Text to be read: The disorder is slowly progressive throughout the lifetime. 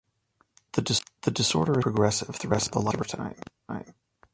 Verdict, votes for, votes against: rejected, 0, 2